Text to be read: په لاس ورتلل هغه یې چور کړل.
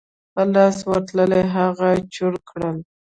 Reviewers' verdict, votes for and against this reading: rejected, 1, 2